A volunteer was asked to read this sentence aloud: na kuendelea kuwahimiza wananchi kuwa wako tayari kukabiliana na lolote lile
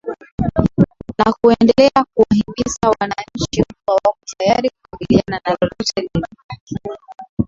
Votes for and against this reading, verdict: 0, 2, rejected